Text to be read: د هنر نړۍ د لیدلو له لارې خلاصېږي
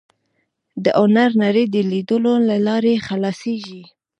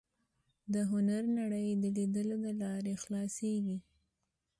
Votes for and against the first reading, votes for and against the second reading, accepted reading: 1, 2, 2, 0, second